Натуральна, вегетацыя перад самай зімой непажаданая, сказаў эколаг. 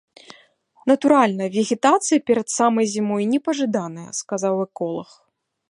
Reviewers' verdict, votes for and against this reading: accepted, 2, 0